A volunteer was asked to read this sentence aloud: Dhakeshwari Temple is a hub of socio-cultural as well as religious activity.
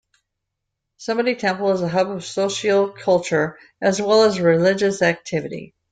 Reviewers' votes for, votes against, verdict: 0, 2, rejected